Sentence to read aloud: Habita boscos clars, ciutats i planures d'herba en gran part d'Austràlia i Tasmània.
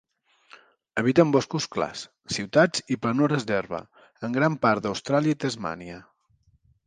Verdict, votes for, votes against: rejected, 1, 2